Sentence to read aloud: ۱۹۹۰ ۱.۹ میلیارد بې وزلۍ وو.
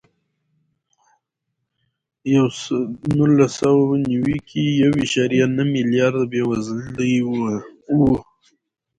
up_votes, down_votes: 0, 2